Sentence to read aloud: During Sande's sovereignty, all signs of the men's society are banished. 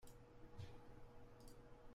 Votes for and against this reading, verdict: 0, 2, rejected